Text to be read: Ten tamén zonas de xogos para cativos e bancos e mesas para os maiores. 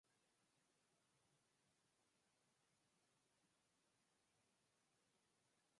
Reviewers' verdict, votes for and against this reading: rejected, 0, 4